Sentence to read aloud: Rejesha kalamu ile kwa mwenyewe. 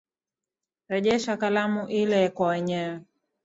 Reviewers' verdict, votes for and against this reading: accepted, 3, 0